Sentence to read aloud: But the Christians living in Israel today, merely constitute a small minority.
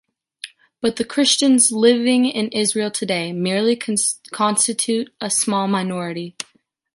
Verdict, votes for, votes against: rejected, 1, 2